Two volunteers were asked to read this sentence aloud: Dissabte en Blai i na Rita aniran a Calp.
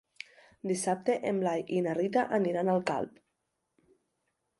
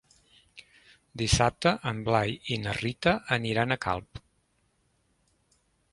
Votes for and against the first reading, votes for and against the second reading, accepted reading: 0, 2, 3, 0, second